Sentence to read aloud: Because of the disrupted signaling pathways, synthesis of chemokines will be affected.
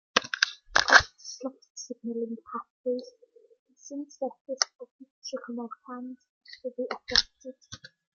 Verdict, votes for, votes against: rejected, 0, 2